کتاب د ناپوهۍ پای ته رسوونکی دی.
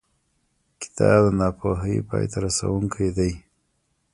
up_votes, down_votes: 1, 2